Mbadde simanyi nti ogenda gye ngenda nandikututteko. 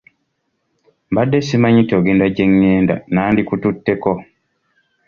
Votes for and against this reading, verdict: 2, 0, accepted